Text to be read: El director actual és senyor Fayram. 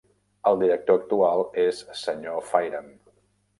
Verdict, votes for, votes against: accepted, 2, 0